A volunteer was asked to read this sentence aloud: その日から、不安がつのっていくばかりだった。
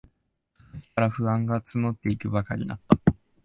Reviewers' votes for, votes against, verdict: 0, 2, rejected